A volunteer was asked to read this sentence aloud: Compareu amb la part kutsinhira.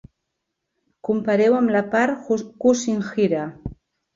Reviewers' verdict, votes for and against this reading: rejected, 1, 3